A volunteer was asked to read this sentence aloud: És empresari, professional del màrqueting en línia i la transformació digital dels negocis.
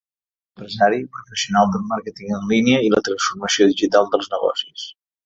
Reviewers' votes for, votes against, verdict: 1, 2, rejected